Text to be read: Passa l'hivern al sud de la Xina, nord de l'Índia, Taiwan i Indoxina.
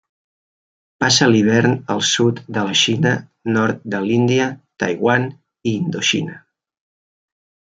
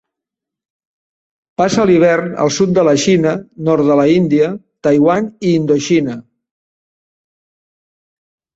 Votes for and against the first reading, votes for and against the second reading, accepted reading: 2, 0, 1, 2, first